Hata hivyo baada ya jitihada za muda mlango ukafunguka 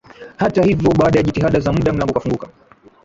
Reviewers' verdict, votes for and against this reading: rejected, 1, 2